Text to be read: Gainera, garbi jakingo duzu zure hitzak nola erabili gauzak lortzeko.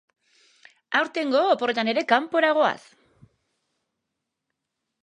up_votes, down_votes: 0, 3